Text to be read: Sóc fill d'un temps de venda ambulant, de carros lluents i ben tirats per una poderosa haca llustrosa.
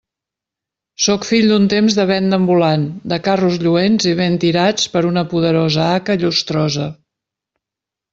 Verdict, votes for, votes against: accepted, 2, 0